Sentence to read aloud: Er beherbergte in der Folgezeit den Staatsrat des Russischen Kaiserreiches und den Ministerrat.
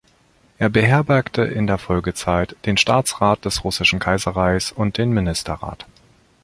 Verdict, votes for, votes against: rejected, 1, 2